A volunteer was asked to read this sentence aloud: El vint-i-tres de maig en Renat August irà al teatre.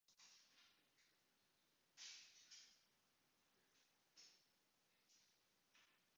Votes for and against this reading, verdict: 0, 2, rejected